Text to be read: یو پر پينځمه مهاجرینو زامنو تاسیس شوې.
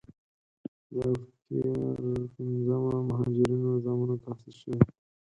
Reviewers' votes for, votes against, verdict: 0, 4, rejected